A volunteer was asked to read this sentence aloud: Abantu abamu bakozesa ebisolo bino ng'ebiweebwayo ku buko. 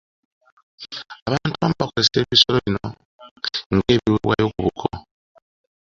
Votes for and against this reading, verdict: 2, 0, accepted